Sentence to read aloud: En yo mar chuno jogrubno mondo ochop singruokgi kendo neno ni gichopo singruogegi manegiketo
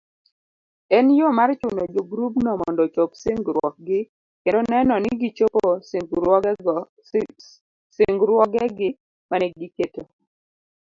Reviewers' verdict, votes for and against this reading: rejected, 0, 2